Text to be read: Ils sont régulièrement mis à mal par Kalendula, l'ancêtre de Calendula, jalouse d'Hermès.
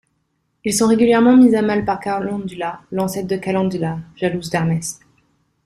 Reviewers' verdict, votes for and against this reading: rejected, 0, 2